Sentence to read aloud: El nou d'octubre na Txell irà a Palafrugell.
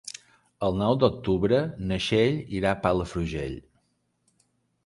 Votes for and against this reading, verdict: 3, 1, accepted